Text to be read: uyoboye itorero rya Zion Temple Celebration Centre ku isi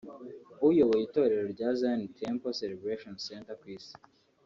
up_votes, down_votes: 3, 0